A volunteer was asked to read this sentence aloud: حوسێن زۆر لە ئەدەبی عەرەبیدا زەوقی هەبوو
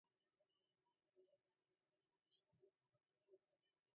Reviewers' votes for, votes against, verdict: 0, 2, rejected